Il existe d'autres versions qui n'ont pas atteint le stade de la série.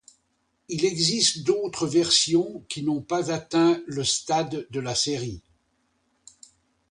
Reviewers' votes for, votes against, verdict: 2, 0, accepted